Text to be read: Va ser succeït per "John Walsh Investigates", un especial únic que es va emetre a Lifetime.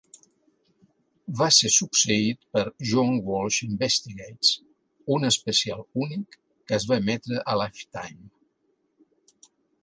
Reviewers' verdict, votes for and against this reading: accepted, 3, 0